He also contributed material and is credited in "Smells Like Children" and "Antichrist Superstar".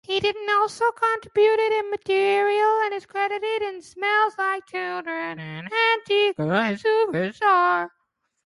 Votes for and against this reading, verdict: 0, 2, rejected